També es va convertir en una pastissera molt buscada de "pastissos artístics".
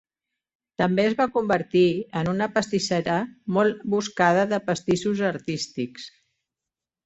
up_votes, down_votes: 4, 0